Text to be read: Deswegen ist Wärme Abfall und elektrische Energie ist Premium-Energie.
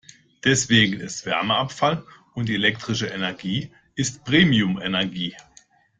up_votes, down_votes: 1, 2